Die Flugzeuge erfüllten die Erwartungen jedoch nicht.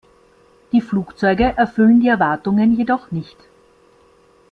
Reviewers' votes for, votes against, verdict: 0, 2, rejected